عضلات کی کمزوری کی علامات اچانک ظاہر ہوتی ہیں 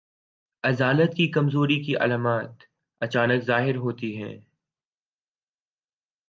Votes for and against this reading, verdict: 1, 2, rejected